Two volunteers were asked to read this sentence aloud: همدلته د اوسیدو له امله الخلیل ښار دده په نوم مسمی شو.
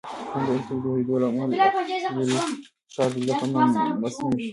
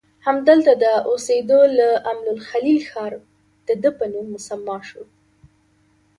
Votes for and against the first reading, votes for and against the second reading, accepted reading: 1, 2, 3, 2, second